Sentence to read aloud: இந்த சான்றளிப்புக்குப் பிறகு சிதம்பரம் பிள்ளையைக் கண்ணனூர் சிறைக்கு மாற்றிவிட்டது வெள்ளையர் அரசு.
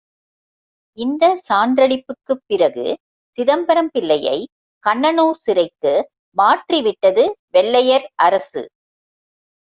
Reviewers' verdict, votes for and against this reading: accepted, 2, 0